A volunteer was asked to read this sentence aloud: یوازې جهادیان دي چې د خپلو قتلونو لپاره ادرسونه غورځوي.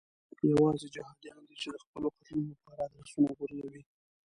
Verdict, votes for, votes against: rejected, 0, 2